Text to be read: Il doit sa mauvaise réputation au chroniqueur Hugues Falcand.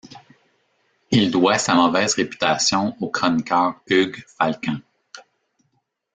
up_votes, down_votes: 1, 2